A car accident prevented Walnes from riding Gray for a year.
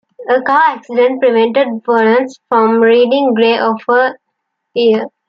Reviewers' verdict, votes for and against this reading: rejected, 1, 2